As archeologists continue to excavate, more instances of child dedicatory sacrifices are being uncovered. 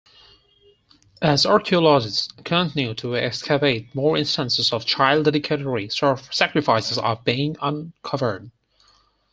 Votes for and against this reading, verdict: 0, 4, rejected